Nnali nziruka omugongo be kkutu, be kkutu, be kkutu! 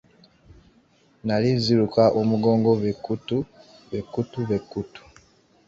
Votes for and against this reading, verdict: 2, 1, accepted